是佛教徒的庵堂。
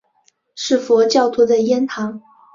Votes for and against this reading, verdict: 2, 1, accepted